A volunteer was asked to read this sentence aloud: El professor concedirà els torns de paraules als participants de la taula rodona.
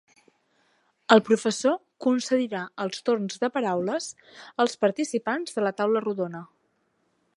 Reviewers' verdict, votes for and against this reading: accepted, 3, 0